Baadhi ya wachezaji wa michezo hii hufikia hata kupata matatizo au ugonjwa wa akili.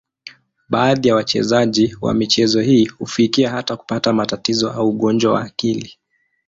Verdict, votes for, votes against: accepted, 2, 0